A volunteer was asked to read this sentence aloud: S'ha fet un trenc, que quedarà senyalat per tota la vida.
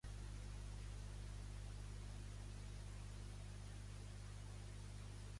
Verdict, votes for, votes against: rejected, 1, 2